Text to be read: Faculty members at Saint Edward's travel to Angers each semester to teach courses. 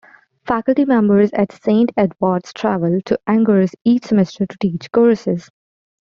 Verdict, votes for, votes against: accepted, 2, 0